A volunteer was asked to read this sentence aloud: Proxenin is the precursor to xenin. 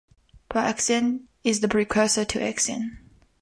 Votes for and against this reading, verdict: 2, 3, rejected